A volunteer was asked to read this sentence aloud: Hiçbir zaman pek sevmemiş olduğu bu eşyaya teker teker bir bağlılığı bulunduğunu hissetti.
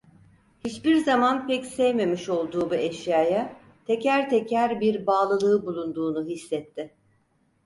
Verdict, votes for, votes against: accepted, 4, 0